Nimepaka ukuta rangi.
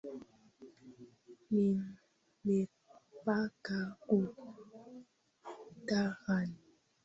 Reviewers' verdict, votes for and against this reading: rejected, 0, 2